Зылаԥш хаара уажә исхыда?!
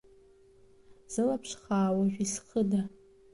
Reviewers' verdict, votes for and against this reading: rejected, 1, 2